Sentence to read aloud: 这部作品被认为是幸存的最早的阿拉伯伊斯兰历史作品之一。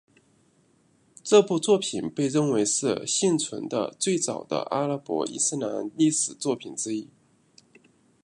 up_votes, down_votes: 2, 0